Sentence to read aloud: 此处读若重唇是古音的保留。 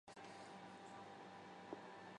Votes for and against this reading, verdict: 3, 2, accepted